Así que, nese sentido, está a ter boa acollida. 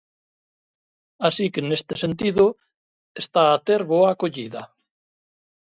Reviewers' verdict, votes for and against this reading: rejected, 0, 2